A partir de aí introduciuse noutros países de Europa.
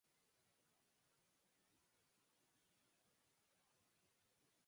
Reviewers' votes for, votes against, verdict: 0, 4, rejected